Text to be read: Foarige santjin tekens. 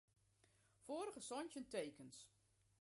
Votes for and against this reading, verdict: 1, 2, rejected